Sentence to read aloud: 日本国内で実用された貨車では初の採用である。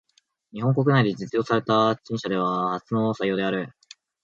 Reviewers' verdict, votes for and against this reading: accepted, 3, 1